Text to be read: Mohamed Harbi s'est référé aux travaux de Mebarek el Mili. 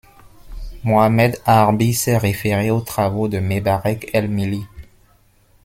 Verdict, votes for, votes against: accepted, 2, 0